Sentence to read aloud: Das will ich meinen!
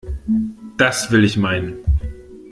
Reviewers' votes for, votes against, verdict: 2, 0, accepted